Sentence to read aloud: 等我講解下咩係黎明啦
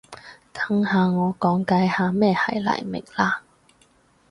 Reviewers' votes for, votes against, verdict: 0, 2, rejected